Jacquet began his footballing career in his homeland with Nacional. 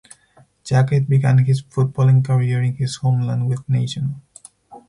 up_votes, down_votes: 4, 0